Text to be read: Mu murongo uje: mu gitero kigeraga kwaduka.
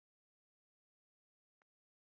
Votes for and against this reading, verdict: 0, 2, rejected